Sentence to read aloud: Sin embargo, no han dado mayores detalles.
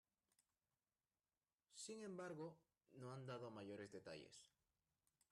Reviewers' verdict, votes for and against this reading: rejected, 0, 2